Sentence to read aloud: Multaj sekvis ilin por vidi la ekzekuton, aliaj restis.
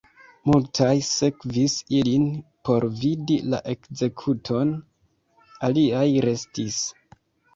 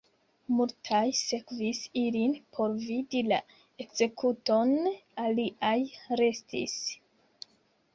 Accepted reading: first